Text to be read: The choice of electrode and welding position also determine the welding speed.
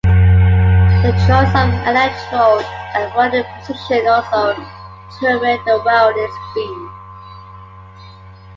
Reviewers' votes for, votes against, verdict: 2, 1, accepted